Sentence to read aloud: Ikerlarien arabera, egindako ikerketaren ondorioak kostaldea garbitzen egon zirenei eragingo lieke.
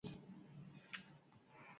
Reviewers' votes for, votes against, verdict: 0, 4, rejected